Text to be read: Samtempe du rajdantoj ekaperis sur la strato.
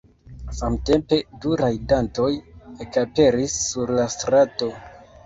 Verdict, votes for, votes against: rejected, 1, 2